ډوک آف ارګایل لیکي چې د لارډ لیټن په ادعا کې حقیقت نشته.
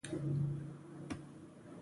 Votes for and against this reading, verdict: 0, 2, rejected